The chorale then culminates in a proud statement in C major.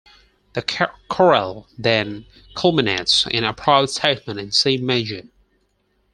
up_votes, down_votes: 0, 4